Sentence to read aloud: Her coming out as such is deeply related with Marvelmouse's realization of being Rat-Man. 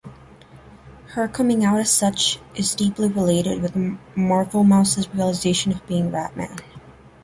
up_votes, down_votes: 1, 2